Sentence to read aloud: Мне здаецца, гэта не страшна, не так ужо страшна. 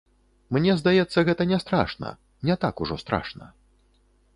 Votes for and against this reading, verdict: 2, 0, accepted